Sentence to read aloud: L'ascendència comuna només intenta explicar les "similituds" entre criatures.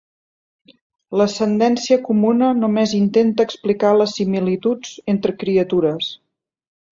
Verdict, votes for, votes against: accepted, 2, 0